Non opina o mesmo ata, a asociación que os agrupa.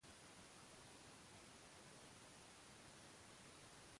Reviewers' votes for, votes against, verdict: 0, 2, rejected